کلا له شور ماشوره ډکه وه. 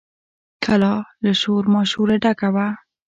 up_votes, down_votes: 2, 1